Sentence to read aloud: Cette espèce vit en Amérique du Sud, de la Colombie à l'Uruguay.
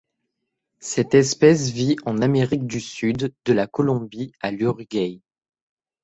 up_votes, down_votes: 0, 2